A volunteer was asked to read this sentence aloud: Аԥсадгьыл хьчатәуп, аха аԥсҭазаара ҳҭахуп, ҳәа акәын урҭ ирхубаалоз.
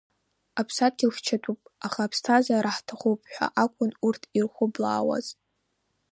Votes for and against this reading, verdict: 1, 2, rejected